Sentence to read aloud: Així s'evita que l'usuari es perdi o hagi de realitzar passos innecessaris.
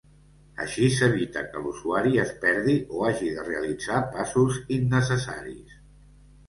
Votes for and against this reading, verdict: 2, 0, accepted